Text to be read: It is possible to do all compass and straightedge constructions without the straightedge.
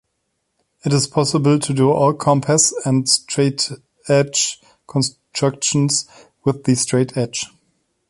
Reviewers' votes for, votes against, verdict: 0, 2, rejected